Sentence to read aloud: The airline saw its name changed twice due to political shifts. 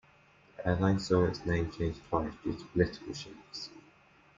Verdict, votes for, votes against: rejected, 0, 2